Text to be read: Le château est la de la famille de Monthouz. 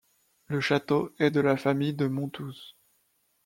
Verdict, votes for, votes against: rejected, 1, 2